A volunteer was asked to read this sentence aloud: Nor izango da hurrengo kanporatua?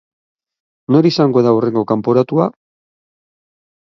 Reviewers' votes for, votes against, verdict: 6, 0, accepted